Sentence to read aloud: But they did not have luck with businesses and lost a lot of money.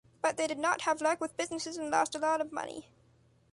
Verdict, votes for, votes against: accepted, 2, 0